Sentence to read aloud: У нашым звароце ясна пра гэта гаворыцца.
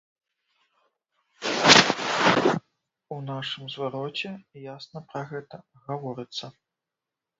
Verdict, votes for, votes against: rejected, 1, 2